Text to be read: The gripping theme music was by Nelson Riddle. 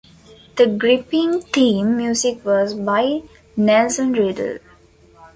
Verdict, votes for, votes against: accepted, 2, 0